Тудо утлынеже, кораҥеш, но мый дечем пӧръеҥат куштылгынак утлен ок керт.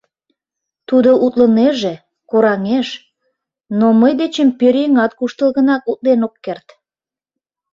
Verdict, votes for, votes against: accepted, 2, 0